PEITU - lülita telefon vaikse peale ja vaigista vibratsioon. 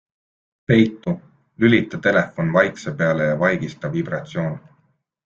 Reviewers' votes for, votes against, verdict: 2, 0, accepted